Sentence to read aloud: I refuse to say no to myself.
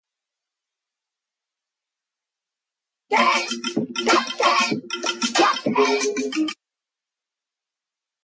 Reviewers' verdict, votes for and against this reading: rejected, 0, 2